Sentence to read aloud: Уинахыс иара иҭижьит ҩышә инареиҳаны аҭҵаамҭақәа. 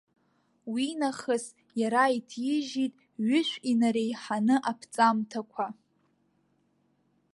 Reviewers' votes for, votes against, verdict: 1, 2, rejected